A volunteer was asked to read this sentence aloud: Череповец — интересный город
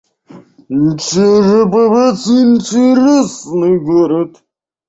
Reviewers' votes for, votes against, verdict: 2, 1, accepted